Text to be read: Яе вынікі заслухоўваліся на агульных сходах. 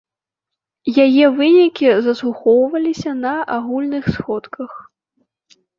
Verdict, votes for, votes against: rejected, 0, 3